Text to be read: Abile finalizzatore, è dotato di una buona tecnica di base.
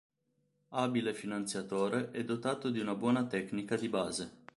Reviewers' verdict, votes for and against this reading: rejected, 1, 4